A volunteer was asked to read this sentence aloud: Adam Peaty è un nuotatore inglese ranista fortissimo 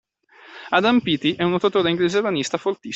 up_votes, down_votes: 0, 2